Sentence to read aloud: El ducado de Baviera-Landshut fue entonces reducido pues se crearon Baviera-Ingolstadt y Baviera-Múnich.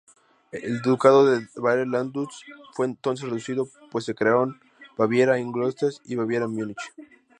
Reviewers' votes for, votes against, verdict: 2, 0, accepted